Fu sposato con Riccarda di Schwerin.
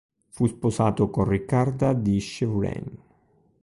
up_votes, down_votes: 1, 2